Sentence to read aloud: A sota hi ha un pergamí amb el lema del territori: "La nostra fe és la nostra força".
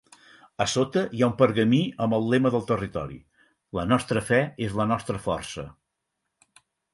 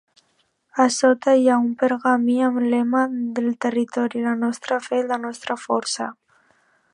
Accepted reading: first